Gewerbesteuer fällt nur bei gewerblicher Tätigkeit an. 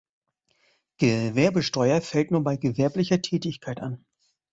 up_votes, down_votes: 2, 0